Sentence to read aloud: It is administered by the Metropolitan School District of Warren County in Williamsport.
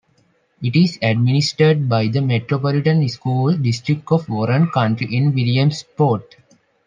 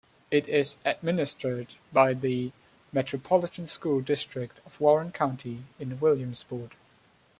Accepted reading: second